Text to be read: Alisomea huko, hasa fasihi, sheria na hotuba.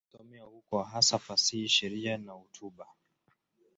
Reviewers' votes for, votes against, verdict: 0, 2, rejected